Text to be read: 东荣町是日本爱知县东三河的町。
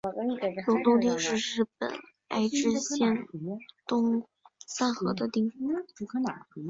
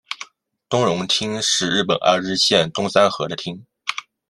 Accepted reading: second